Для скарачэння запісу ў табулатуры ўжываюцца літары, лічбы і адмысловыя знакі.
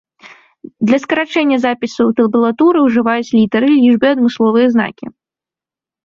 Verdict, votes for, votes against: rejected, 1, 2